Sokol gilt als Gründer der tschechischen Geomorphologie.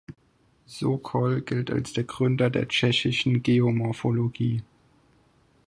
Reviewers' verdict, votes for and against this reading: rejected, 0, 4